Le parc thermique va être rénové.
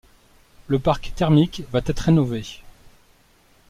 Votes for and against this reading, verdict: 2, 1, accepted